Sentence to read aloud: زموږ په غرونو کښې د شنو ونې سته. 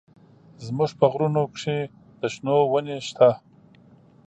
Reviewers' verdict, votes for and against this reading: accepted, 2, 0